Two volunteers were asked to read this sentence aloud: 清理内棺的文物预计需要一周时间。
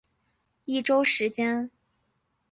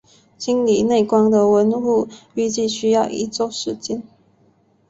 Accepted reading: second